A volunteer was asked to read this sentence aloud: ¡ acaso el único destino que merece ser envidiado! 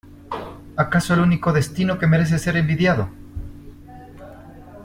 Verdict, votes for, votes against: accepted, 2, 0